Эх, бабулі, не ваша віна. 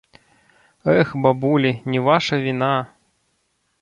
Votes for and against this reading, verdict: 0, 2, rejected